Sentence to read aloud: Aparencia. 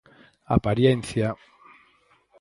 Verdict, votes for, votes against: rejected, 2, 4